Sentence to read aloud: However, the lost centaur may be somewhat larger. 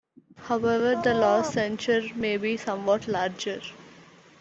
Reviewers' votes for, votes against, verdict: 2, 1, accepted